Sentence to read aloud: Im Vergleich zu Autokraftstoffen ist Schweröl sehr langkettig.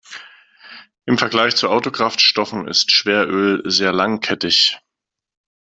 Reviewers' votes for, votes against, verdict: 2, 0, accepted